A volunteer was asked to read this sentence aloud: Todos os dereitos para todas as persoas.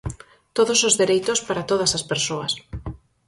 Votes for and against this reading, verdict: 4, 0, accepted